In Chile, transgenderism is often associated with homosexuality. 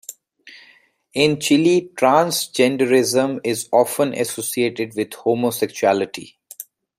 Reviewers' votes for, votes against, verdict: 2, 1, accepted